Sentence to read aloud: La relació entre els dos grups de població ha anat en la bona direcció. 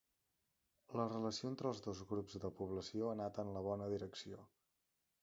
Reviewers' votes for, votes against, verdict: 2, 0, accepted